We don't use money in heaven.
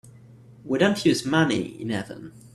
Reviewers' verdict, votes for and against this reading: rejected, 1, 2